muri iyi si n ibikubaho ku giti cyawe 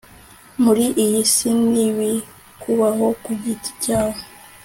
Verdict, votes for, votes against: accepted, 2, 0